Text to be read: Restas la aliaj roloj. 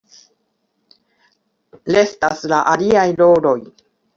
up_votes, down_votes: 0, 2